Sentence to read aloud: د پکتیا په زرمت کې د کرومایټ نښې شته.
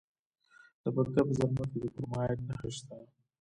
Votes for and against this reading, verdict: 1, 2, rejected